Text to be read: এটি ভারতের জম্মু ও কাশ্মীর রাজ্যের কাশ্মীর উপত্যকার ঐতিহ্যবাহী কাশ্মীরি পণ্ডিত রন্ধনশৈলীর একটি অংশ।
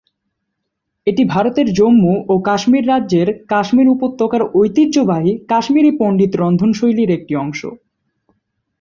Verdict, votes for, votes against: accepted, 3, 0